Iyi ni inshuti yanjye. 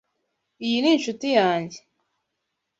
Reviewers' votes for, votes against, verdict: 2, 0, accepted